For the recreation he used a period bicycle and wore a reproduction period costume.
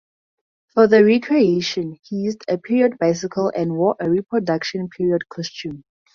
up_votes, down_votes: 2, 0